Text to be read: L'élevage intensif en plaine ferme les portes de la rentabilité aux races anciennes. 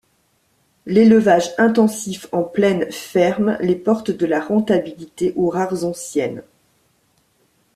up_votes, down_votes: 1, 2